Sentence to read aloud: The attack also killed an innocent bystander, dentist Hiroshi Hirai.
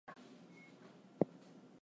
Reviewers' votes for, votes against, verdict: 0, 4, rejected